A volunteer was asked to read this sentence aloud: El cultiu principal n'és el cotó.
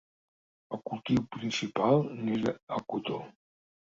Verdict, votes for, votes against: rejected, 1, 3